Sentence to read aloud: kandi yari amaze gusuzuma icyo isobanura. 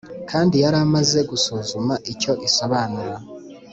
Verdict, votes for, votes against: accepted, 2, 0